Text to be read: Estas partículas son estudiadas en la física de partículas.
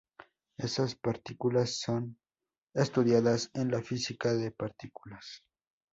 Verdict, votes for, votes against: rejected, 0, 2